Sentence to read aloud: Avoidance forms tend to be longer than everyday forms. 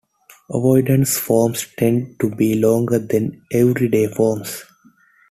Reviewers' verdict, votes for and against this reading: accepted, 2, 0